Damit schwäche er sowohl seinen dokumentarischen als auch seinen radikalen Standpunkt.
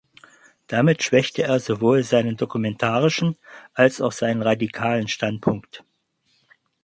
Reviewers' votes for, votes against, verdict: 2, 4, rejected